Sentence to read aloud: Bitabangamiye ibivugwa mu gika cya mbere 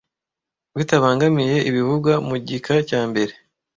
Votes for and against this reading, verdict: 2, 0, accepted